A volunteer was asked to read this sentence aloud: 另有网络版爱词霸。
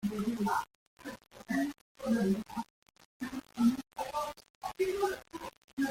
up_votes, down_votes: 0, 2